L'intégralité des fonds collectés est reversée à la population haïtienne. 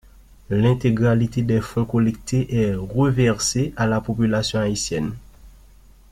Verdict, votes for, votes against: accepted, 2, 0